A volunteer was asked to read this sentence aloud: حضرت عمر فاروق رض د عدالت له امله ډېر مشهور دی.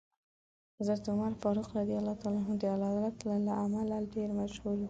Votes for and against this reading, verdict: 2, 1, accepted